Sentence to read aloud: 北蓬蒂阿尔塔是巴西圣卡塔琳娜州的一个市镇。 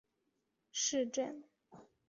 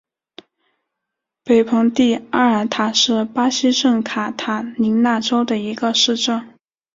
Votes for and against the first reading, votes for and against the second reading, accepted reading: 0, 3, 6, 0, second